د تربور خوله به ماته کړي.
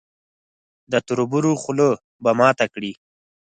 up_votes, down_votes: 2, 4